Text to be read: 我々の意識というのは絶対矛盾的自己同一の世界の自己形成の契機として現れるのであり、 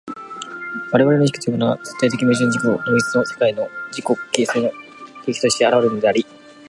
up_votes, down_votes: 0, 2